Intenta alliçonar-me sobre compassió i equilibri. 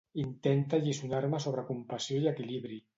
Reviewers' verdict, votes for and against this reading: accepted, 2, 0